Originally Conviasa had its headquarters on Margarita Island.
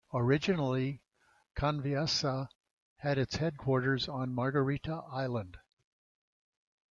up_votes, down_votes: 2, 0